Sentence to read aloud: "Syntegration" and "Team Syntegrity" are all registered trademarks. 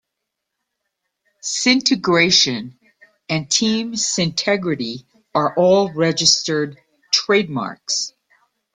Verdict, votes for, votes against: accepted, 2, 0